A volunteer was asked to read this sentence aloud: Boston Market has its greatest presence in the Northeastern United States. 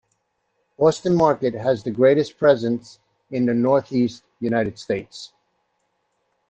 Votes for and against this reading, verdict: 0, 2, rejected